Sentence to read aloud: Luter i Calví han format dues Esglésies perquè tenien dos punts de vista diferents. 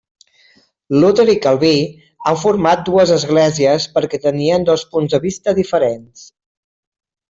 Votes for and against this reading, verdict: 1, 2, rejected